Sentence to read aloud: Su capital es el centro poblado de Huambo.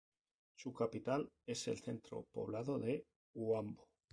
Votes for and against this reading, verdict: 0, 2, rejected